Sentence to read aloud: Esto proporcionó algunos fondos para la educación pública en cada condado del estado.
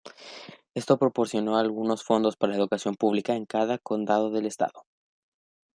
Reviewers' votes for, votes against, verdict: 2, 0, accepted